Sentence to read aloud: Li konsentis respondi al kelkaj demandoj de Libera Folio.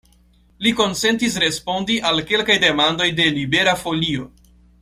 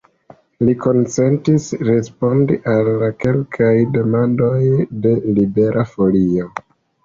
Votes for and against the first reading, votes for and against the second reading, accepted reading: 2, 0, 1, 2, first